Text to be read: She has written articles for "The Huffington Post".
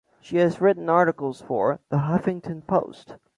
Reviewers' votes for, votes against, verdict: 2, 0, accepted